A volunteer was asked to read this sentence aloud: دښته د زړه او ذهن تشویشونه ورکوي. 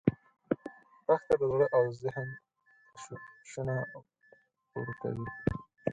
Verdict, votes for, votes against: rejected, 0, 4